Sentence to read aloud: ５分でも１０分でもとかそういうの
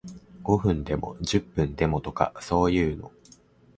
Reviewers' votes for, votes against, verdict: 0, 2, rejected